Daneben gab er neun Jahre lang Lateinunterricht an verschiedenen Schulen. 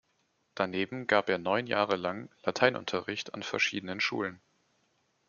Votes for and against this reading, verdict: 2, 0, accepted